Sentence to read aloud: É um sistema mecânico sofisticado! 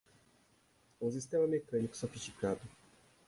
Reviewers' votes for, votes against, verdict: 0, 2, rejected